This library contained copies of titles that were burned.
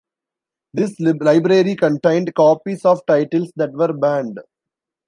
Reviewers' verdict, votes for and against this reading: rejected, 1, 2